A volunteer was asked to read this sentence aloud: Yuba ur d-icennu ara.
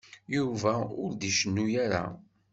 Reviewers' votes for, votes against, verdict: 2, 0, accepted